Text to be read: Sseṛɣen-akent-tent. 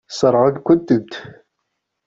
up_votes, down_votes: 1, 2